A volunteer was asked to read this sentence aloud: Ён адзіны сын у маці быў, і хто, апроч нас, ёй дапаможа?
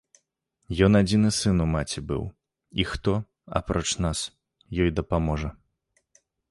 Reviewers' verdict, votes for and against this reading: accepted, 2, 0